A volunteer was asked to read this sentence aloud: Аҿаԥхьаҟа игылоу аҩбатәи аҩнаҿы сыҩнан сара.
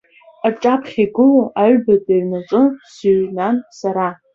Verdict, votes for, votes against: accepted, 2, 1